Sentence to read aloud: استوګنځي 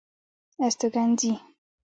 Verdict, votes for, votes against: accepted, 2, 0